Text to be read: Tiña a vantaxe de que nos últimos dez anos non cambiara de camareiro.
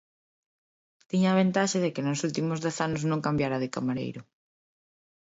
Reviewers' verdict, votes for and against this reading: rejected, 0, 2